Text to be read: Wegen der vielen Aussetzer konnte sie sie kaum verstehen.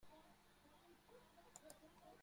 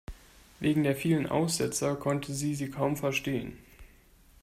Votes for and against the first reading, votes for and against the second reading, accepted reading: 0, 2, 2, 0, second